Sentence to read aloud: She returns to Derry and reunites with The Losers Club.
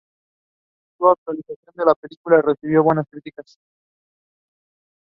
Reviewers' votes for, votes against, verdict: 0, 2, rejected